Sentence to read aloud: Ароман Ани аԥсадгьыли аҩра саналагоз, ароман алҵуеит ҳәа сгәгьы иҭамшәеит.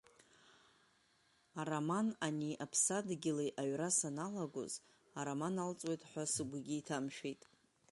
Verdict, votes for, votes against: rejected, 1, 2